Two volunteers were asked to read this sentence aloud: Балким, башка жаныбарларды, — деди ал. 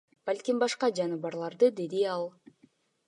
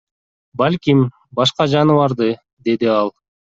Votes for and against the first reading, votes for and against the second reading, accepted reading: 2, 0, 1, 2, first